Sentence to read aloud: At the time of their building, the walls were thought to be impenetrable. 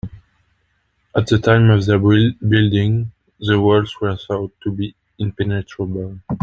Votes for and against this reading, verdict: 0, 2, rejected